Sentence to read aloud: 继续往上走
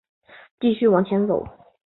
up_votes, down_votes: 2, 1